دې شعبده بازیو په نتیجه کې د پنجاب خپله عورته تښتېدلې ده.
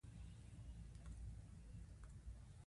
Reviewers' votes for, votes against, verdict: 2, 1, accepted